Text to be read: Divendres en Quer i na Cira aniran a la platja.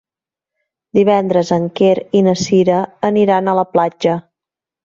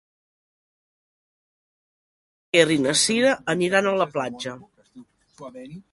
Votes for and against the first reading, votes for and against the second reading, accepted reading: 2, 0, 0, 2, first